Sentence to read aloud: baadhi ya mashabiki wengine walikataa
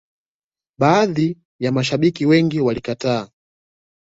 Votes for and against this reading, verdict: 0, 2, rejected